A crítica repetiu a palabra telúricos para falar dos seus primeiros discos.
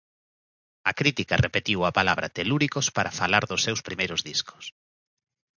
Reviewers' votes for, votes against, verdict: 2, 0, accepted